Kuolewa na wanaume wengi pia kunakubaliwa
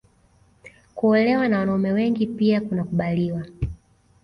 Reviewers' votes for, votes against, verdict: 2, 0, accepted